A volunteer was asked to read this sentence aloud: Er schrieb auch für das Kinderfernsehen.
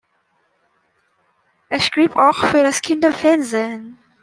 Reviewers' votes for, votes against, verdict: 2, 0, accepted